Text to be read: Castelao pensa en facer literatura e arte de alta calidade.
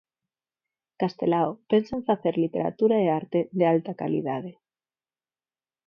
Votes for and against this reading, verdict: 4, 0, accepted